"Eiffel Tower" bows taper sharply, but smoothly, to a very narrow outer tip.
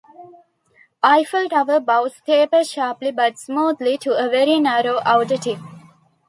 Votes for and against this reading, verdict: 2, 0, accepted